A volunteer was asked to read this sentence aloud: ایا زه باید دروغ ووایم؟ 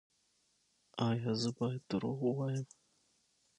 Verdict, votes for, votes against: accepted, 6, 3